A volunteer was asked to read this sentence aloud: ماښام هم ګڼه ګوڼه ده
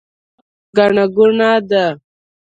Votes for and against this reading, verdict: 0, 2, rejected